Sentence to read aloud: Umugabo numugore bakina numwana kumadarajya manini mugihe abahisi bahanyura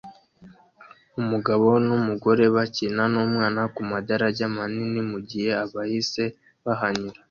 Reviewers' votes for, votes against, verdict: 2, 0, accepted